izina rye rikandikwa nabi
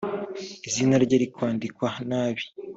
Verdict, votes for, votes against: accepted, 3, 2